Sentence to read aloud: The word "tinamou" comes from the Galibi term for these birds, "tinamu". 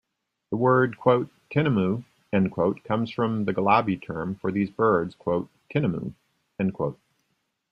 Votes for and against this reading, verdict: 0, 2, rejected